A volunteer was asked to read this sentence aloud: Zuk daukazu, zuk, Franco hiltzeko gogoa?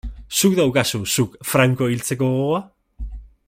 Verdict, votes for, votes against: accepted, 2, 0